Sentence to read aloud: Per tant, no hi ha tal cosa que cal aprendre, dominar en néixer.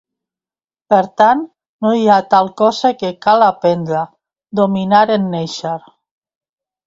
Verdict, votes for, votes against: accepted, 3, 0